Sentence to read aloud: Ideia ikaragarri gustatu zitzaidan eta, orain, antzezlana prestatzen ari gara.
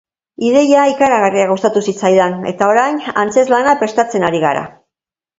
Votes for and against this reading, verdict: 2, 0, accepted